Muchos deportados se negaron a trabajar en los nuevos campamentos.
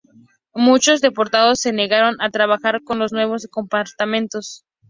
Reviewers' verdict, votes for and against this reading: rejected, 0, 2